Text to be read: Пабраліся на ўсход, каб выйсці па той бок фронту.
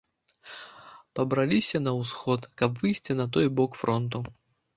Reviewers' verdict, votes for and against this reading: rejected, 1, 2